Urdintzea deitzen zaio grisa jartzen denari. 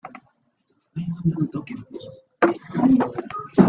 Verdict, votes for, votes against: rejected, 0, 2